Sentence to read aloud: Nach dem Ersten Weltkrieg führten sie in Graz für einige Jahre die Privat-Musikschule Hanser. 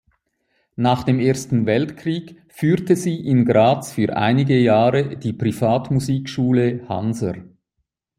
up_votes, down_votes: 1, 2